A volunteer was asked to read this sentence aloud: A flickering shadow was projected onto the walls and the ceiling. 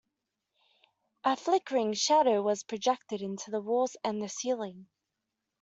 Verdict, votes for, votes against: accepted, 2, 0